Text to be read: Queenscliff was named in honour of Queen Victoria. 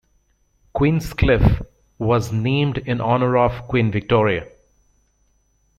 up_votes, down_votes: 2, 0